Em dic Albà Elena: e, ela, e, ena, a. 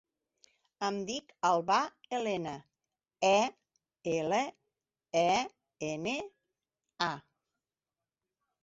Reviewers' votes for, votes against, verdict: 1, 2, rejected